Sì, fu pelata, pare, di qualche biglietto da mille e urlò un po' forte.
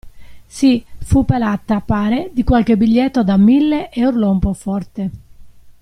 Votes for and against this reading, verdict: 0, 2, rejected